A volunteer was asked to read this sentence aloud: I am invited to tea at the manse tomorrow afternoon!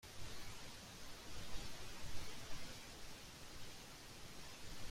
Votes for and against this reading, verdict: 0, 2, rejected